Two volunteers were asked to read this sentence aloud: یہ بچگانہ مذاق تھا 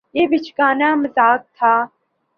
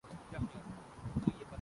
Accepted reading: first